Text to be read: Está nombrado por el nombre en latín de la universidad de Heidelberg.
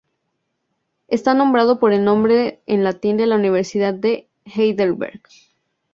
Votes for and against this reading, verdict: 2, 0, accepted